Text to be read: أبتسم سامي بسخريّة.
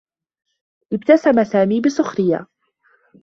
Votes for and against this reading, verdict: 2, 0, accepted